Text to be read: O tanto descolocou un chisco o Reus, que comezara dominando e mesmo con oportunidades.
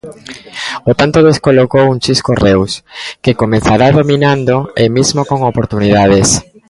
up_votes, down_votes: 0, 2